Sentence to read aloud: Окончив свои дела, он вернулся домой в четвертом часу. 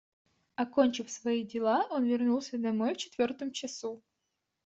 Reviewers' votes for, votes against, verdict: 2, 0, accepted